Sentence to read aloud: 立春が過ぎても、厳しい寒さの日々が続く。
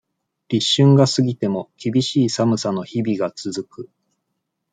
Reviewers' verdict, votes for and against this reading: accepted, 2, 0